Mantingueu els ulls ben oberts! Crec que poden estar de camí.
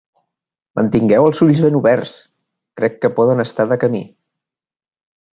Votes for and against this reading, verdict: 2, 0, accepted